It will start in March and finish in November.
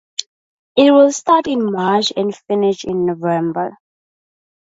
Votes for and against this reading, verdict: 2, 0, accepted